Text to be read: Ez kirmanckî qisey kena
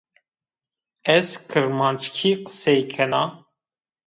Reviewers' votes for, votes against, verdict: 0, 2, rejected